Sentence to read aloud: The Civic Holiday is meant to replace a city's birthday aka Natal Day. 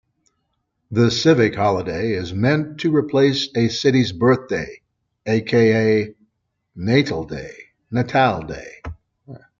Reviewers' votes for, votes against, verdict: 1, 2, rejected